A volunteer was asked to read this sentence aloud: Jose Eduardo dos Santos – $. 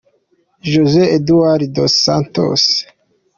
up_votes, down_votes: 0, 2